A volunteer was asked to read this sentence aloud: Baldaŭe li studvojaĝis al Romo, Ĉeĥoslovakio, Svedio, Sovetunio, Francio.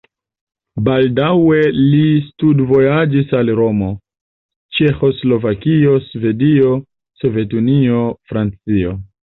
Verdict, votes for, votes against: accepted, 2, 0